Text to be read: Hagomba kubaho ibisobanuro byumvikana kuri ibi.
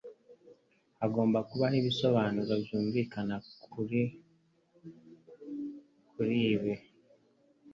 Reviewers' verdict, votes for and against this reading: rejected, 1, 2